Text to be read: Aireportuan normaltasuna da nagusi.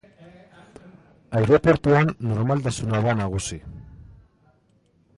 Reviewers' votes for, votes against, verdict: 1, 2, rejected